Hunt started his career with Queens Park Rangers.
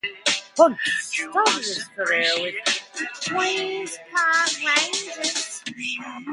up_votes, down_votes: 0, 2